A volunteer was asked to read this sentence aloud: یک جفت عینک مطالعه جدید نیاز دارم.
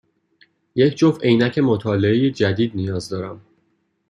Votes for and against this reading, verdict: 2, 0, accepted